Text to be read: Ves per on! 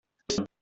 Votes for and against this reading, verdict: 0, 2, rejected